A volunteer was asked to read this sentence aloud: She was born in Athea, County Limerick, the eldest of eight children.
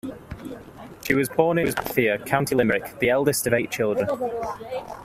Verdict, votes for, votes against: rejected, 0, 2